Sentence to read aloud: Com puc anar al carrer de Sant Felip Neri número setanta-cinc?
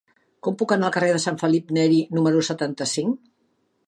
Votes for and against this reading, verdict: 3, 0, accepted